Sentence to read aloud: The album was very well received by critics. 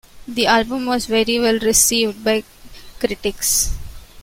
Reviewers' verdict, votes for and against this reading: accepted, 2, 0